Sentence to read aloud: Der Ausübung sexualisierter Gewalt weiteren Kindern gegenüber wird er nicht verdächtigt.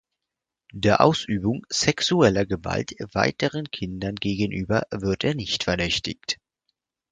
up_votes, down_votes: 0, 4